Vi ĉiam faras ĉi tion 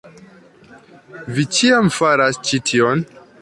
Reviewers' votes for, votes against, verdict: 2, 0, accepted